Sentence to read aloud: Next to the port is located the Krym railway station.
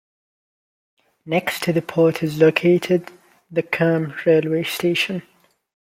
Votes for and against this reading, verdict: 2, 1, accepted